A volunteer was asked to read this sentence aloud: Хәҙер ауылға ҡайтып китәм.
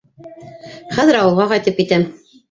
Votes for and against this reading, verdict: 2, 0, accepted